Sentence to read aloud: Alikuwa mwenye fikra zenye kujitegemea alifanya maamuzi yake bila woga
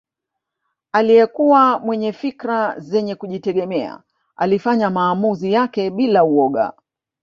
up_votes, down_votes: 0, 2